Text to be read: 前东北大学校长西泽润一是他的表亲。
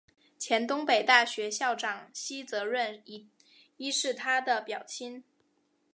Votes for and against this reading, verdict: 9, 1, accepted